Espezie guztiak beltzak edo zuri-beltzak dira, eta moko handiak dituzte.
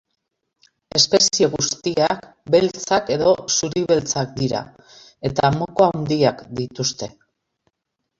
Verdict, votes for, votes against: rejected, 0, 2